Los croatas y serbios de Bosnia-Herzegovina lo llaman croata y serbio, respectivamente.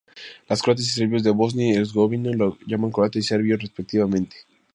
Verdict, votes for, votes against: rejected, 0, 2